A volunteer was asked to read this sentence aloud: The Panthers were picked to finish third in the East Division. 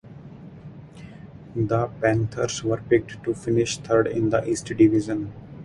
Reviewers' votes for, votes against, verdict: 2, 0, accepted